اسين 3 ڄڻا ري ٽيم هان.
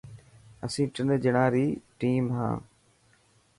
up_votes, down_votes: 0, 2